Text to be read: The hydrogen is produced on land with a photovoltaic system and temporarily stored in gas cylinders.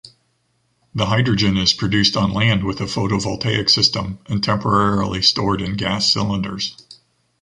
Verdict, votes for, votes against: accepted, 2, 0